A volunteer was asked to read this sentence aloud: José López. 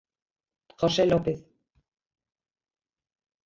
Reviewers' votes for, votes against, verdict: 0, 2, rejected